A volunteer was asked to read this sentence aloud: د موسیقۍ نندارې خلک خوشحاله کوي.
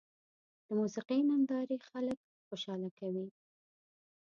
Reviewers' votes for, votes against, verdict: 1, 2, rejected